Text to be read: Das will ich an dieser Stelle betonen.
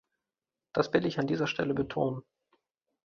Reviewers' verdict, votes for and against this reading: accepted, 2, 0